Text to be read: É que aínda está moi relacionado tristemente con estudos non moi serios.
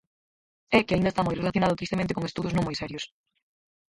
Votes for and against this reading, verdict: 2, 4, rejected